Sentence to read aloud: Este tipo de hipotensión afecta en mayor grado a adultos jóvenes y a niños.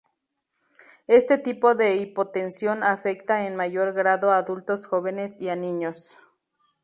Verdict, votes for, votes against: rejected, 2, 2